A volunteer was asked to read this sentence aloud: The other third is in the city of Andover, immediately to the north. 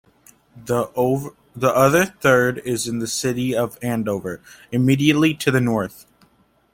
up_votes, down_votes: 1, 2